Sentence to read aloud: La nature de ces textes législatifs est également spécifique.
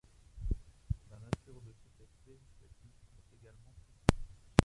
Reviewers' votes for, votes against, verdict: 0, 2, rejected